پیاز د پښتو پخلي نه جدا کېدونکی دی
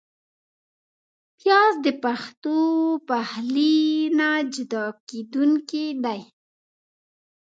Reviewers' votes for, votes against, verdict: 1, 2, rejected